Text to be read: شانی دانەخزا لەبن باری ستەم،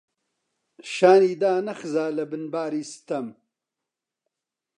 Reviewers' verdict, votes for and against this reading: accepted, 2, 0